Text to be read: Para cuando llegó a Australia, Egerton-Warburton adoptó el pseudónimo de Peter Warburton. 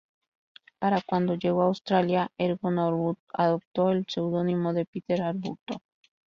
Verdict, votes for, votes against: accepted, 2, 0